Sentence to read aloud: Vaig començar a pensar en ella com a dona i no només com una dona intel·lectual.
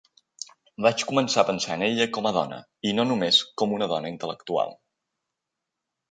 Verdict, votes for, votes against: accepted, 3, 0